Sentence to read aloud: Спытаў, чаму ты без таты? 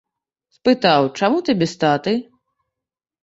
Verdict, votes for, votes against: rejected, 1, 2